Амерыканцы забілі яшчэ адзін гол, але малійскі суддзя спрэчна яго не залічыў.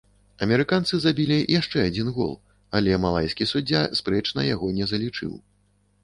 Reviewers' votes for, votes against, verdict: 1, 2, rejected